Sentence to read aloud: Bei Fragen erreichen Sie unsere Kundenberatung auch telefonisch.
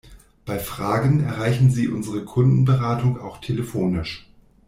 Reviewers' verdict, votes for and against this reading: accepted, 2, 0